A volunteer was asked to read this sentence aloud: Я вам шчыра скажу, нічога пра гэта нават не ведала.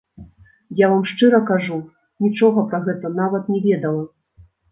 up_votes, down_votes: 1, 2